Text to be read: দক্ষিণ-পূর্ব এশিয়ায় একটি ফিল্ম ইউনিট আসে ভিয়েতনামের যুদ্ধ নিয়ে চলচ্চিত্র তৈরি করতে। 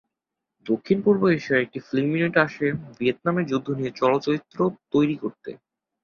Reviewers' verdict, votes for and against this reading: rejected, 1, 2